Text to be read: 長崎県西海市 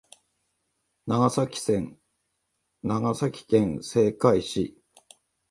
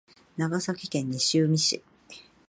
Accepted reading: second